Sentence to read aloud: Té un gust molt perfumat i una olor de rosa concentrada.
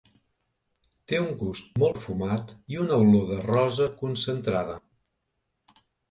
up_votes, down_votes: 1, 2